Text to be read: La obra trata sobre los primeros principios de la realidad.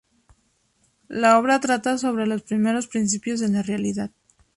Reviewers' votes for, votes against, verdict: 4, 0, accepted